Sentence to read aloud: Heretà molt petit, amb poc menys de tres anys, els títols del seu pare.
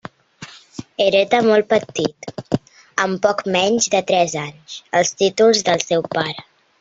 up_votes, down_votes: 1, 2